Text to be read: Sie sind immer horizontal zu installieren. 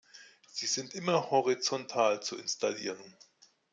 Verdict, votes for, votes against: accepted, 2, 0